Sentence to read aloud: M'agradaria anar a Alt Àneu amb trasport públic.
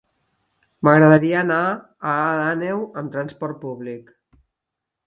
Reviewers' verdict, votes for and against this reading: accepted, 4, 0